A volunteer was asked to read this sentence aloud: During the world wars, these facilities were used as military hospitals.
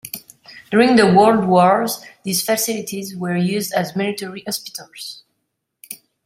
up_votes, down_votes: 2, 0